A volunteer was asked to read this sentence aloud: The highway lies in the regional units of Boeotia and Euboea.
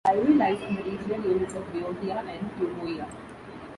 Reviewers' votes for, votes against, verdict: 0, 2, rejected